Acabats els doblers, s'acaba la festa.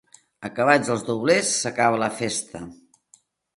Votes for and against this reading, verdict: 2, 0, accepted